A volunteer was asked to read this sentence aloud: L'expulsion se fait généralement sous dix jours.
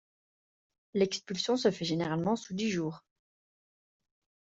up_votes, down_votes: 2, 0